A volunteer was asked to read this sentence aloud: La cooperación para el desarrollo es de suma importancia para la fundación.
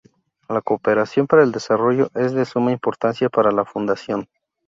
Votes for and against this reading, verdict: 0, 2, rejected